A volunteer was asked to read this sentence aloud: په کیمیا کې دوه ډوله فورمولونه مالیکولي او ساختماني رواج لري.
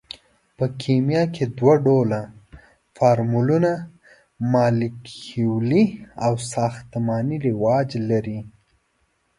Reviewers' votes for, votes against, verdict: 2, 0, accepted